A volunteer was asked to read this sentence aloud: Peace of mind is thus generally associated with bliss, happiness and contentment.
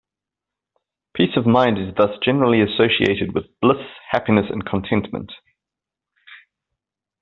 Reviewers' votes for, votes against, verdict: 2, 0, accepted